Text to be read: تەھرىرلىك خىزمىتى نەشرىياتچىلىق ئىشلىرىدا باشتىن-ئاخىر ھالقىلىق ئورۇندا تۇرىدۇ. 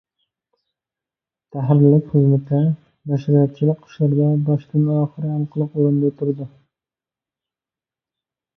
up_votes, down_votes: 0, 2